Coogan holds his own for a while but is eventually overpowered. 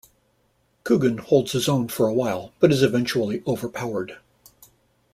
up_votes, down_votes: 2, 0